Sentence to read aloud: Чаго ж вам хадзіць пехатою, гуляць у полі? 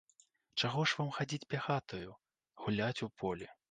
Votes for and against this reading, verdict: 0, 2, rejected